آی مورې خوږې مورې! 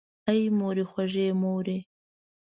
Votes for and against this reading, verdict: 2, 0, accepted